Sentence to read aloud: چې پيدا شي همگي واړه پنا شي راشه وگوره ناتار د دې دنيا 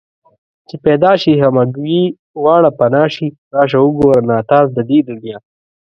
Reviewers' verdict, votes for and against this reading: rejected, 1, 2